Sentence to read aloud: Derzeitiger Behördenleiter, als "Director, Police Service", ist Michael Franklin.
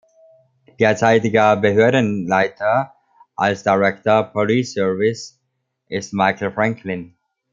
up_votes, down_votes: 2, 0